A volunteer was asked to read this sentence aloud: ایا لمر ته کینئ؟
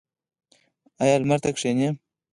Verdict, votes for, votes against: rejected, 2, 4